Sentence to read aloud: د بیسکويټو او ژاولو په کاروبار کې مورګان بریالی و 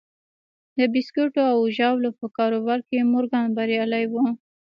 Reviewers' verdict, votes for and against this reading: rejected, 0, 2